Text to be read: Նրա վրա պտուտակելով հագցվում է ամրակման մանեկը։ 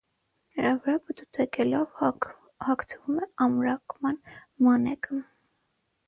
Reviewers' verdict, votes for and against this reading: rejected, 0, 6